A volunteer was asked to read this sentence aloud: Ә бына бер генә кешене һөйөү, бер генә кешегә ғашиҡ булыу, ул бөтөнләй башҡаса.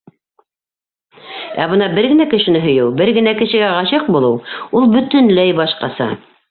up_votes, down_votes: 0, 2